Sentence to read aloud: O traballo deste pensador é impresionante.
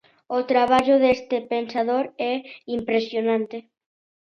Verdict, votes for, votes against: accepted, 2, 0